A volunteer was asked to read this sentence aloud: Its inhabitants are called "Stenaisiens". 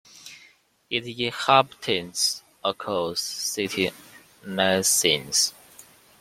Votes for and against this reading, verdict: 0, 2, rejected